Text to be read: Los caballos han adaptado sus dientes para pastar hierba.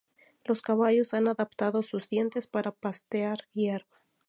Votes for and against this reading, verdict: 0, 2, rejected